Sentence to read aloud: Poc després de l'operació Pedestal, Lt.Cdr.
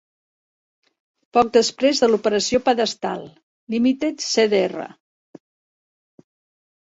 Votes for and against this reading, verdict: 0, 2, rejected